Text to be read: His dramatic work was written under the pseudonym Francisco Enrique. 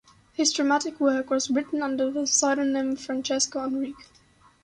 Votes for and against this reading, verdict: 2, 0, accepted